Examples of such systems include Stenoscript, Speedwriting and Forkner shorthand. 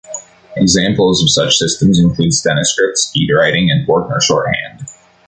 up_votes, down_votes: 2, 0